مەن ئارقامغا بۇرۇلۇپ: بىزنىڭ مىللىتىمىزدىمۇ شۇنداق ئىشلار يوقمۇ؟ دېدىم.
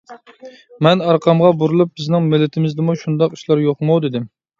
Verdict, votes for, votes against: accepted, 2, 0